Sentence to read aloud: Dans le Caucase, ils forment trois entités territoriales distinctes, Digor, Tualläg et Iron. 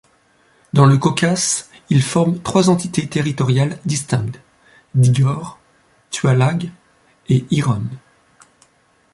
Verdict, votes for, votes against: rejected, 0, 2